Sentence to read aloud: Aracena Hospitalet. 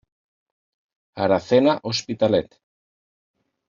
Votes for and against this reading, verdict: 2, 1, accepted